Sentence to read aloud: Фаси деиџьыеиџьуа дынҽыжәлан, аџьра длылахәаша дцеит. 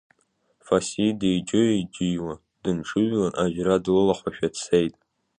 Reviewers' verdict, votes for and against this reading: rejected, 1, 2